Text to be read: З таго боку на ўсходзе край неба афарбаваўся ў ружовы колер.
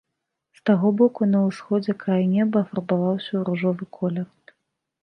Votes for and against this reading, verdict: 2, 0, accepted